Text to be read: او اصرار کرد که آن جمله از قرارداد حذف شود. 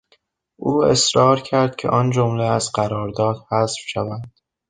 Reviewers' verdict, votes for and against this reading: accepted, 3, 0